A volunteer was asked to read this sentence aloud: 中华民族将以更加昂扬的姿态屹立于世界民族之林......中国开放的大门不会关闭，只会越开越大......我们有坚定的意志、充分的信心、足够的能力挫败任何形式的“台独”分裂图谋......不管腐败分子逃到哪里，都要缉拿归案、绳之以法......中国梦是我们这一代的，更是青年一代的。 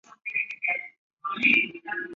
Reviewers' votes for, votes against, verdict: 0, 2, rejected